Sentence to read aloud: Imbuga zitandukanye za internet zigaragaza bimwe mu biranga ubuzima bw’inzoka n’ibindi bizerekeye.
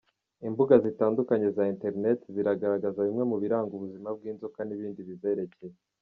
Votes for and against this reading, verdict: 2, 3, rejected